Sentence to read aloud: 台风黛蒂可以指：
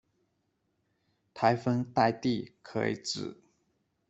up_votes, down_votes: 2, 0